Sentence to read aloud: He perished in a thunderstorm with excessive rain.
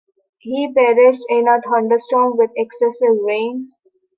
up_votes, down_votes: 2, 0